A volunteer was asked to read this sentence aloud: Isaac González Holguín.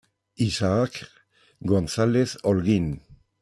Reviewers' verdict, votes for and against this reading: rejected, 1, 2